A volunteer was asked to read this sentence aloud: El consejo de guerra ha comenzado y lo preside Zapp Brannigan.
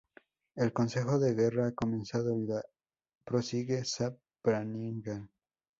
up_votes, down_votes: 0, 2